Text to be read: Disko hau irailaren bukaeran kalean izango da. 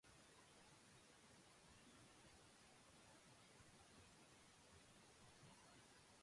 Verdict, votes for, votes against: rejected, 0, 2